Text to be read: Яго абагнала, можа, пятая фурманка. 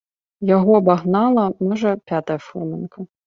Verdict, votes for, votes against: rejected, 1, 2